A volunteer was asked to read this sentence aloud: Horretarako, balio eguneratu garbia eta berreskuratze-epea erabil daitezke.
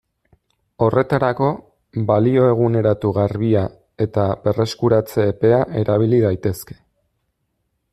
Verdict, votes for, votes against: rejected, 1, 2